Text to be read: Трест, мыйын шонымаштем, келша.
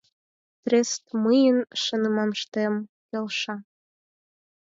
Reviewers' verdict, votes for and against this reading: rejected, 2, 4